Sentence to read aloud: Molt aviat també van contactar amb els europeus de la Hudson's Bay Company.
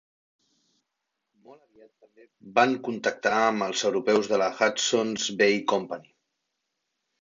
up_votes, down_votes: 0, 2